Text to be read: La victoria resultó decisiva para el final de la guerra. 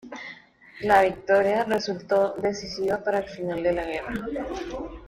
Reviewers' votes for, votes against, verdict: 2, 0, accepted